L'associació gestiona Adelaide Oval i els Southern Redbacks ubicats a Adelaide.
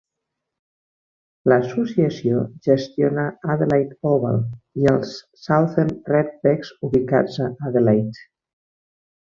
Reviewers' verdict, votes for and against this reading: rejected, 0, 2